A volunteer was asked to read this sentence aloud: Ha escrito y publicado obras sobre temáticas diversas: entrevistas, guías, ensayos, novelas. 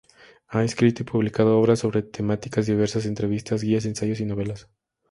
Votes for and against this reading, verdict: 0, 2, rejected